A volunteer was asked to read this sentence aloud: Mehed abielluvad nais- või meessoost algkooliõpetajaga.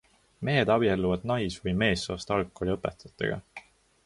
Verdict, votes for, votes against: rejected, 0, 2